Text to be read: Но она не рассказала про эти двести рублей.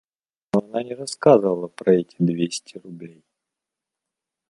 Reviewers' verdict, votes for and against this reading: rejected, 1, 2